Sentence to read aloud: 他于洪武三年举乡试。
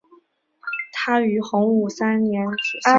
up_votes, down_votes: 1, 2